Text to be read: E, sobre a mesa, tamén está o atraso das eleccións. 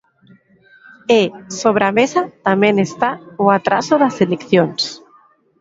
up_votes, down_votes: 2, 0